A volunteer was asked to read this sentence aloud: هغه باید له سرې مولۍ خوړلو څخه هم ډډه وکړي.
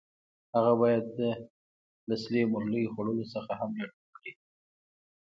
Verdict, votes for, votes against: accepted, 2, 0